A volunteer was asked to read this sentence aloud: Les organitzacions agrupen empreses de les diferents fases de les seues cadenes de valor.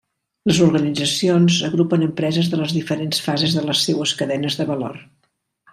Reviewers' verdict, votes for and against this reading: accepted, 3, 0